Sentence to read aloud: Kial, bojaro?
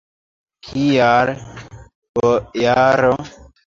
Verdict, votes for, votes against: accepted, 2, 0